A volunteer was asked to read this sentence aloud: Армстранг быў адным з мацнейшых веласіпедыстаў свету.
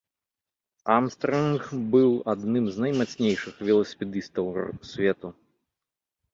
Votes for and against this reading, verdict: 0, 2, rejected